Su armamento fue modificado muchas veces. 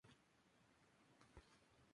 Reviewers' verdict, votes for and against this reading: rejected, 0, 4